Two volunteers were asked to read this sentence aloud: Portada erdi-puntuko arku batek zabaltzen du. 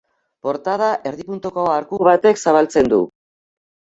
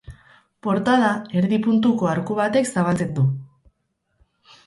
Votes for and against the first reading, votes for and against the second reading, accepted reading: 2, 1, 0, 4, first